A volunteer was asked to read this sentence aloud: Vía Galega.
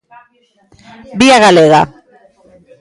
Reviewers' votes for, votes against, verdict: 2, 0, accepted